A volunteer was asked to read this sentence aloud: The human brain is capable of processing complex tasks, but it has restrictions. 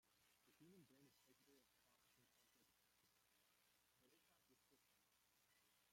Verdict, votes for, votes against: rejected, 0, 2